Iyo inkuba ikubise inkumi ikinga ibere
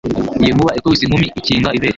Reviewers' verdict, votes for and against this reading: accepted, 2, 0